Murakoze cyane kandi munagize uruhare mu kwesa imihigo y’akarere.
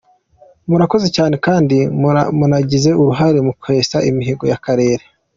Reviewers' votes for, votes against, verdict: 2, 1, accepted